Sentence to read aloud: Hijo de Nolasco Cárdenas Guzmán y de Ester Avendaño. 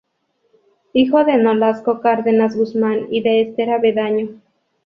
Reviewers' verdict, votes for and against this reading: rejected, 0, 2